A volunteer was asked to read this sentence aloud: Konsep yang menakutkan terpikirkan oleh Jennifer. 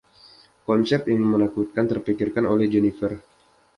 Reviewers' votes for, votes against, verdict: 2, 0, accepted